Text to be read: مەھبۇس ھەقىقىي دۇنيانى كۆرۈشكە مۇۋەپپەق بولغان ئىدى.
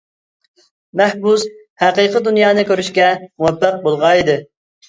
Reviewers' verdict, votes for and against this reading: accepted, 3, 0